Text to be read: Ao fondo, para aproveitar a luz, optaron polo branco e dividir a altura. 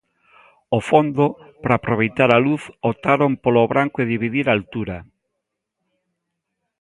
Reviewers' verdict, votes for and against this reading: accepted, 2, 0